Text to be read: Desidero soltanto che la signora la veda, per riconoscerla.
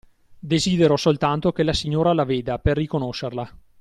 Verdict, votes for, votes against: accepted, 2, 0